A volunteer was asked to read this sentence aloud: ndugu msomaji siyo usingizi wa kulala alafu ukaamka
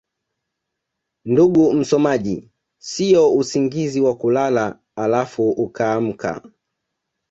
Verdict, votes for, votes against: rejected, 0, 2